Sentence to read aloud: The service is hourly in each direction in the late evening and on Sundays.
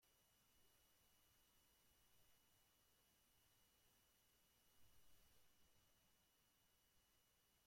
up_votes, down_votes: 0, 2